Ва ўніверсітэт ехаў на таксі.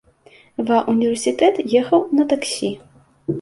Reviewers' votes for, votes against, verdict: 2, 0, accepted